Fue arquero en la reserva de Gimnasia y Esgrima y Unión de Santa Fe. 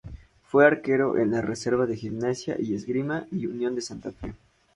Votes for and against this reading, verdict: 2, 0, accepted